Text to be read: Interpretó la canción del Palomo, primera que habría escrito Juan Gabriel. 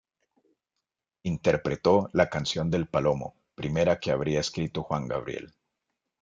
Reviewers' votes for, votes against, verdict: 3, 0, accepted